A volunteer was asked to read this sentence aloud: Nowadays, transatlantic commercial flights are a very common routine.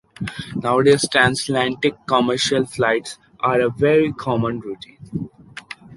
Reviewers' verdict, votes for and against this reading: rejected, 1, 2